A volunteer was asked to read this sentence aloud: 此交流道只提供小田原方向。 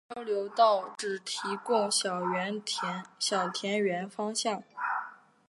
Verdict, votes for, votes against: rejected, 0, 2